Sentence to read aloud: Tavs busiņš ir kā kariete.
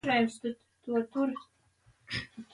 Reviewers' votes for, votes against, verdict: 0, 2, rejected